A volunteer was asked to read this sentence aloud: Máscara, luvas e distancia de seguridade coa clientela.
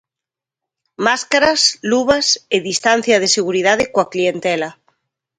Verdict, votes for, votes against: rejected, 1, 2